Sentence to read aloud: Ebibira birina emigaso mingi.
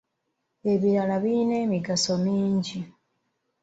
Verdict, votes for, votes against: rejected, 0, 2